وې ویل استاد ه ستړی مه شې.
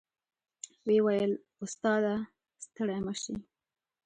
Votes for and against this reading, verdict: 2, 0, accepted